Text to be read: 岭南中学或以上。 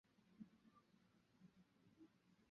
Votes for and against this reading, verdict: 2, 3, rejected